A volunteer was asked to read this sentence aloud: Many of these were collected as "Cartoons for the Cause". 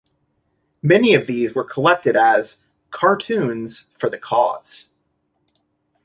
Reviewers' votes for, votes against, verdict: 2, 0, accepted